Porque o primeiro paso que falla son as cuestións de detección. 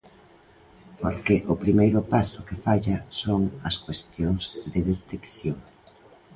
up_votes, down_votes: 2, 0